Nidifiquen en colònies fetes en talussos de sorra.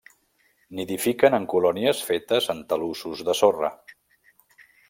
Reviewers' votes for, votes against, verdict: 3, 0, accepted